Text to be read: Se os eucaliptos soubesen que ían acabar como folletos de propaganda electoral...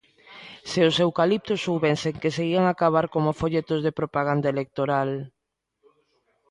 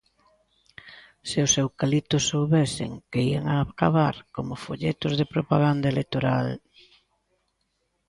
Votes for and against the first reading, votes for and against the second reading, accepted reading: 1, 2, 2, 0, second